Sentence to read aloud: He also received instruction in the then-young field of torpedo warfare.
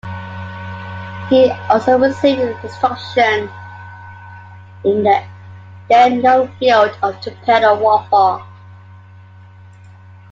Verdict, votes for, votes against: accepted, 2, 1